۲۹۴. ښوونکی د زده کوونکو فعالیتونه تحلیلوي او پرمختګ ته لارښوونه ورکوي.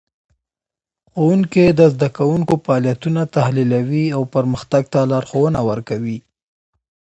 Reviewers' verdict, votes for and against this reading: rejected, 0, 2